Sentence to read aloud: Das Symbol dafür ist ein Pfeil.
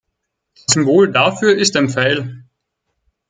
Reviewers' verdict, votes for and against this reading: rejected, 0, 4